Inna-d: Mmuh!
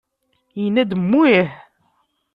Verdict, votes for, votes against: rejected, 0, 2